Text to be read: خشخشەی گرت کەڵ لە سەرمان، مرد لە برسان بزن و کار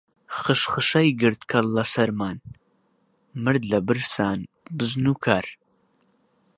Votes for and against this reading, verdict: 2, 0, accepted